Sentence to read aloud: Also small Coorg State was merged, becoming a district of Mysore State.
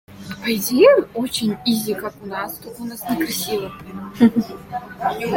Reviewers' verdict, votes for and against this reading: rejected, 0, 2